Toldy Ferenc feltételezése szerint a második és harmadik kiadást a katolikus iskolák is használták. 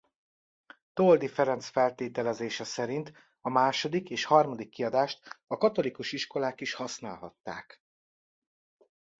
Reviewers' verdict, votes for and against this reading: rejected, 0, 2